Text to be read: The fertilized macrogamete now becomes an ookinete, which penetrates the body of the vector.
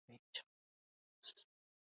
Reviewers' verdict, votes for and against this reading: rejected, 0, 2